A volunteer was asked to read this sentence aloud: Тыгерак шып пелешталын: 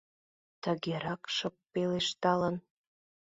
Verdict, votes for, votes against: accepted, 2, 0